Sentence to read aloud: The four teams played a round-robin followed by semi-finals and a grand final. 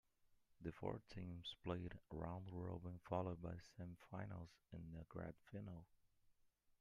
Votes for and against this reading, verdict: 0, 2, rejected